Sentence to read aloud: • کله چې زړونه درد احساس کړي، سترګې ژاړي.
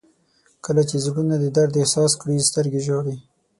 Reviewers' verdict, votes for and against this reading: rejected, 3, 6